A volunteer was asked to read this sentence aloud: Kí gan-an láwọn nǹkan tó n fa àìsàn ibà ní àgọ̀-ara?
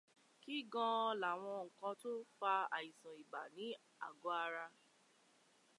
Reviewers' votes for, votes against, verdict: 2, 0, accepted